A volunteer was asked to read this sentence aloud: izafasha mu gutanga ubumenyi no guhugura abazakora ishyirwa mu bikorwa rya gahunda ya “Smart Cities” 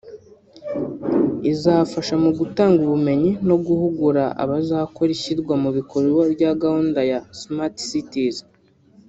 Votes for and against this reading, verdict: 1, 2, rejected